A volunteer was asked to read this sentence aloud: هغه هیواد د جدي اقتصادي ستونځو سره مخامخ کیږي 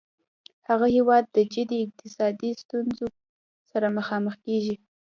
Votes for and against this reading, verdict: 1, 2, rejected